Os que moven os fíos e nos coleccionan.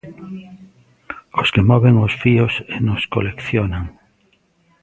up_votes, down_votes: 2, 0